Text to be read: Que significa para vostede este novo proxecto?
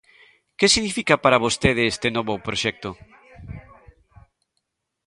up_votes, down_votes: 1, 2